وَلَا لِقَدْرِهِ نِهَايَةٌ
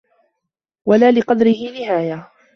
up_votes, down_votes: 2, 1